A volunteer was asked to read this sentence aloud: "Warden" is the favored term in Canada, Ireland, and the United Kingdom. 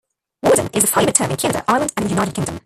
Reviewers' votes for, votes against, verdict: 0, 2, rejected